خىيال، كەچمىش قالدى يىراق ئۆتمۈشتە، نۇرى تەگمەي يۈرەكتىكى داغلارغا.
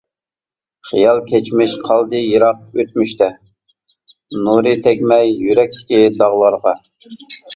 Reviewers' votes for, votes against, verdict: 2, 0, accepted